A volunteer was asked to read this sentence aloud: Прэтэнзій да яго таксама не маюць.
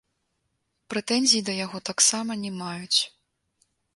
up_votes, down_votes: 2, 1